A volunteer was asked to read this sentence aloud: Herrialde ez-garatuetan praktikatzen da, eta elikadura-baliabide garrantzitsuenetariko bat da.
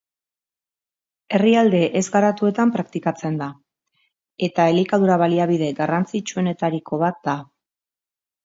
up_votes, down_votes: 2, 0